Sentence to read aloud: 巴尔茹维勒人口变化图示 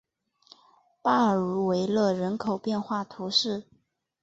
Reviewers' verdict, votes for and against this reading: accepted, 4, 0